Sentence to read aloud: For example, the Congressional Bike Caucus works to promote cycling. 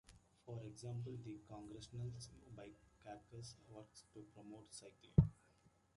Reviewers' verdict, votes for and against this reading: accepted, 2, 1